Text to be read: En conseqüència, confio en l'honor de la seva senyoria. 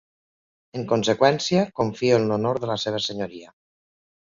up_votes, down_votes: 2, 0